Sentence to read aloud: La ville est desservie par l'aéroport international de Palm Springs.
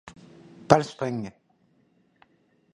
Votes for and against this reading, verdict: 0, 2, rejected